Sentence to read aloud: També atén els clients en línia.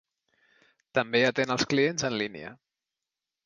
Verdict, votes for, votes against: accepted, 2, 0